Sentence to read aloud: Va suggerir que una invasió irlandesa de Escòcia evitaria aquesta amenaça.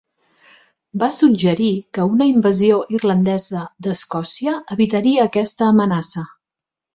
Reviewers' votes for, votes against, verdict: 2, 1, accepted